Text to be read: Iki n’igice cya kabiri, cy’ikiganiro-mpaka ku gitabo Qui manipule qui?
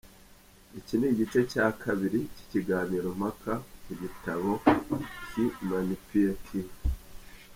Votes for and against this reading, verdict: 0, 2, rejected